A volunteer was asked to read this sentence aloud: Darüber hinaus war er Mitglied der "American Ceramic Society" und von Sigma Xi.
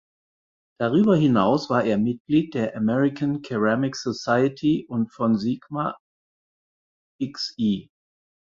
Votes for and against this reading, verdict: 0, 4, rejected